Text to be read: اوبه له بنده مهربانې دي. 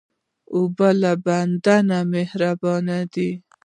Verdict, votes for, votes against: accepted, 2, 1